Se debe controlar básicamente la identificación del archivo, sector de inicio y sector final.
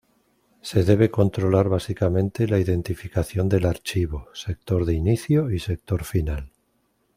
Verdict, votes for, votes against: accepted, 2, 0